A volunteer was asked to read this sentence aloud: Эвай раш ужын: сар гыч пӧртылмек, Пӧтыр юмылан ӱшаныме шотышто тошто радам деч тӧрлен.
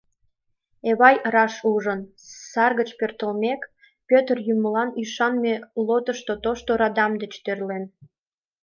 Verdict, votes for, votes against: rejected, 1, 2